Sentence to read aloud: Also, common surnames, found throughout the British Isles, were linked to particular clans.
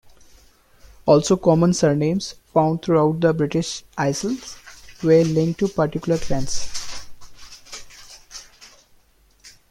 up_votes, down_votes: 1, 2